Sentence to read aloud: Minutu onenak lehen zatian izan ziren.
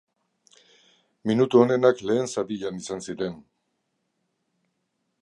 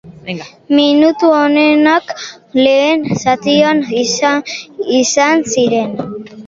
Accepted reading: first